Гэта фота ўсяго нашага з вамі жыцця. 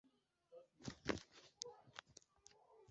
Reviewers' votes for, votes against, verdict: 0, 2, rejected